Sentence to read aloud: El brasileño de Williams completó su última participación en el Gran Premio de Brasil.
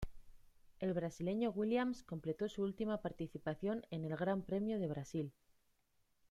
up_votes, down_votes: 1, 2